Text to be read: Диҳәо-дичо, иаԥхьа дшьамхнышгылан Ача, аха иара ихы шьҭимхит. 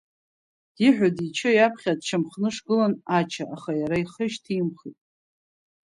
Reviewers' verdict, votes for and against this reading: accepted, 3, 0